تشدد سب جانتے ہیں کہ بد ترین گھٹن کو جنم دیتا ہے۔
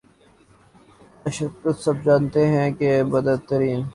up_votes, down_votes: 0, 2